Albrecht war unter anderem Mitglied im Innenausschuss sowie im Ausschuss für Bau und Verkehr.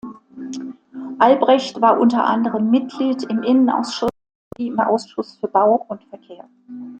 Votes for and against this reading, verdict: 0, 2, rejected